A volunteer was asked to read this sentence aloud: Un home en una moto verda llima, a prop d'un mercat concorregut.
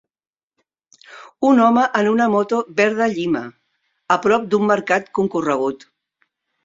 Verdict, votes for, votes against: accepted, 3, 0